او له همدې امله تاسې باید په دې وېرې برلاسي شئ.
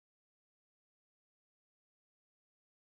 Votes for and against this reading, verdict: 0, 2, rejected